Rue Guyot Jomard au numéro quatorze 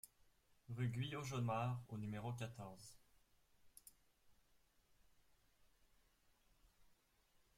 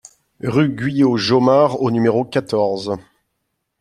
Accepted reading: second